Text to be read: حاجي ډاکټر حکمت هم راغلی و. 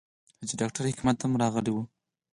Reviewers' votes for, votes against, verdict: 8, 2, accepted